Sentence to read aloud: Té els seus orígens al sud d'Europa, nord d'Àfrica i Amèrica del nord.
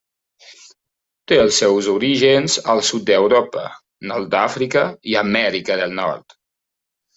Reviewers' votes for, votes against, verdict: 2, 0, accepted